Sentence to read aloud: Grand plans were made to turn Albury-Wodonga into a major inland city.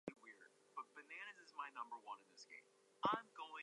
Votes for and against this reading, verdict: 0, 2, rejected